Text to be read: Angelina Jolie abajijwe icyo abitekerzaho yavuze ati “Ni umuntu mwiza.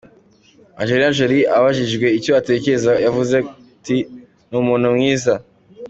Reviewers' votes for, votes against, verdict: 2, 1, accepted